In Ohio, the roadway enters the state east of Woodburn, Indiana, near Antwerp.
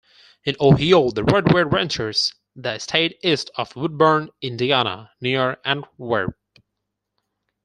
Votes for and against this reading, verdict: 0, 4, rejected